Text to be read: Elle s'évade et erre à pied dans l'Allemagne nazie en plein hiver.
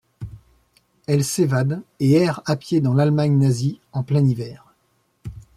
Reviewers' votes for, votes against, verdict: 2, 1, accepted